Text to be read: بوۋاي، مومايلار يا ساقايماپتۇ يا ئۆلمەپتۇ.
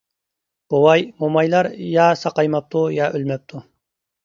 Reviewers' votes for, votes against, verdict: 2, 0, accepted